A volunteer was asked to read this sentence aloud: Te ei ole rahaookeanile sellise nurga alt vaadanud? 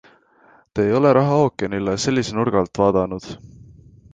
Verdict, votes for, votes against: accepted, 2, 0